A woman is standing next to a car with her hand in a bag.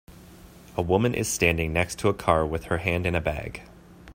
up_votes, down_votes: 2, 0